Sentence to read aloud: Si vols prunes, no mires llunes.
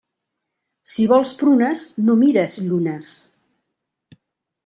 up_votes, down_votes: 5, 0